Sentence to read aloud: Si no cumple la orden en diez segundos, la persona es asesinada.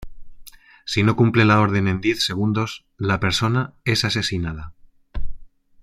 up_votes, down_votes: 2, 0